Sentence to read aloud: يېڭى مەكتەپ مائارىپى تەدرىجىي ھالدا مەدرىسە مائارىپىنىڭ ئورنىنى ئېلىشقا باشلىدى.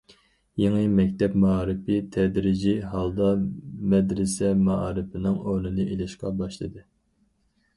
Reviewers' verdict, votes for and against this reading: accepted, 4, 0